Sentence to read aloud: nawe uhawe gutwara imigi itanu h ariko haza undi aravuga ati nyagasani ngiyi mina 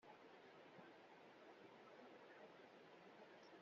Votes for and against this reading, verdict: 0, 2, rejected